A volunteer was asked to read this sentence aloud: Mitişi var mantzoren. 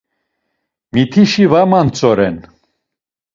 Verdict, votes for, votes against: accepted, 2, 0